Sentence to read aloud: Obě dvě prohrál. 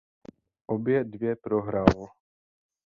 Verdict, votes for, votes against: accepted, 2, 0